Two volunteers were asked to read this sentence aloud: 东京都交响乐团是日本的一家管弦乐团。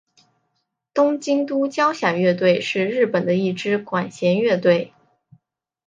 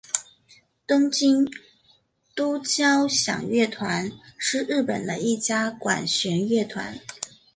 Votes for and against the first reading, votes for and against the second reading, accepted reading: 0, 2, 4, 0, second